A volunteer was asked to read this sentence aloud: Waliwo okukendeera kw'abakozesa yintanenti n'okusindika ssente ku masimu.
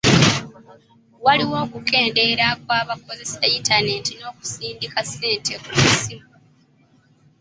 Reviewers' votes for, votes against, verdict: 2, 0, accepted